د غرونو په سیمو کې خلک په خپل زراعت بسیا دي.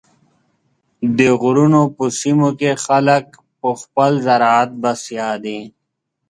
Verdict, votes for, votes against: accepted, 6, 0